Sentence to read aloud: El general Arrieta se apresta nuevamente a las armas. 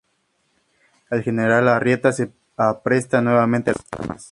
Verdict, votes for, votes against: rejected, 2, 2